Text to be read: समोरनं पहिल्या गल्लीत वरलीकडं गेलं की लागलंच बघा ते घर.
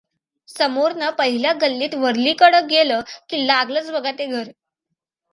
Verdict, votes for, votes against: accepted, 2, 0